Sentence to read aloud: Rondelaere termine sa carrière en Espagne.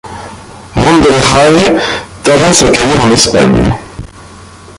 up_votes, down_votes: 1, 2